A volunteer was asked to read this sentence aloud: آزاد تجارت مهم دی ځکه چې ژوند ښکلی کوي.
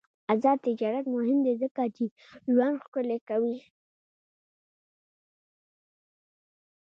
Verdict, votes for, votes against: rejected, 1, 2